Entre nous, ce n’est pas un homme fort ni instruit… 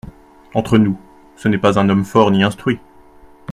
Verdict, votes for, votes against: accepted, 2, 0